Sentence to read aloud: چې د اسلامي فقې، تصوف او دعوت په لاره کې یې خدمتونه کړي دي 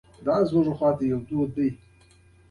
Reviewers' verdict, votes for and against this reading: rejected, 1, 2